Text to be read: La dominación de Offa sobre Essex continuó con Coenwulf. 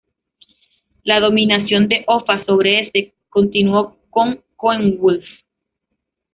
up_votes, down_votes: 2, 0